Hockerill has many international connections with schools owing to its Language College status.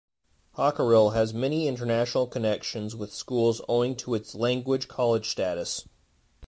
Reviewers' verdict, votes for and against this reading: accepted, 2, 0